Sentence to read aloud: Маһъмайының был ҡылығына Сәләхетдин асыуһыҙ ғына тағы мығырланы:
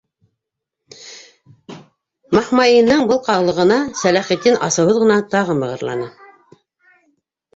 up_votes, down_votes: 0, 2